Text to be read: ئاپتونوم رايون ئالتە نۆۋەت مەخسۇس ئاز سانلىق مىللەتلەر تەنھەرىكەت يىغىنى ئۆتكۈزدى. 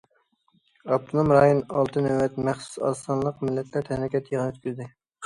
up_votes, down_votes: 2, 0